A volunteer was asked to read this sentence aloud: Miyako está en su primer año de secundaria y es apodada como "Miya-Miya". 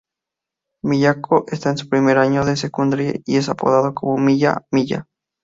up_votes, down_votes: 2, 0